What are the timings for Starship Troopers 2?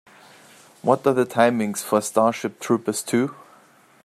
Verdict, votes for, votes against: rejected, 0, 2